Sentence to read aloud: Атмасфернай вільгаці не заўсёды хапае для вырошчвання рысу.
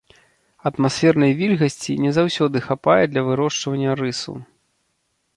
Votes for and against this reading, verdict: 1, 2, rejected